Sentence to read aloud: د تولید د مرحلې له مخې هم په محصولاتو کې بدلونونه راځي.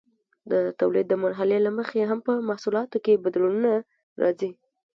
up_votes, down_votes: 2, 1